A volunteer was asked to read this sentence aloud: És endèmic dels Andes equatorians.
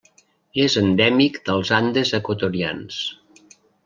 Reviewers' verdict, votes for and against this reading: accepted, 3, 0